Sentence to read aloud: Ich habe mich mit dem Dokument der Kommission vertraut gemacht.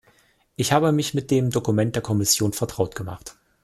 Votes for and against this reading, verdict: 2, 0, accepted